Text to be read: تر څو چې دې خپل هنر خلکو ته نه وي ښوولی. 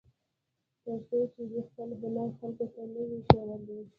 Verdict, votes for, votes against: rejected, 1, 2